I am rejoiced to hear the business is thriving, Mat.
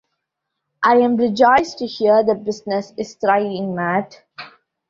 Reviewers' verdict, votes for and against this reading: accepted, 2, 0